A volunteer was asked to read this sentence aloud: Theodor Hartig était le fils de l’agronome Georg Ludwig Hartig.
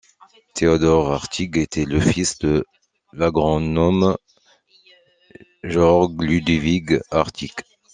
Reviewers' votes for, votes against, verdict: 2, 0, accepted